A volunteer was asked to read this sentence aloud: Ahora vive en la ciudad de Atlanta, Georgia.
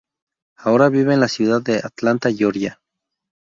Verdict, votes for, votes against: accepted, 2, 0